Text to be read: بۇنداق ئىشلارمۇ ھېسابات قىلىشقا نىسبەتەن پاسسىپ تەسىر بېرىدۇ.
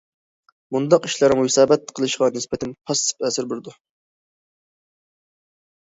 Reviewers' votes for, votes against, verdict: 0, 2, rejected